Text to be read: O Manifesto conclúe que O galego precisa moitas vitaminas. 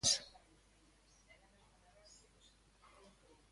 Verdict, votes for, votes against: rejected, 0, 2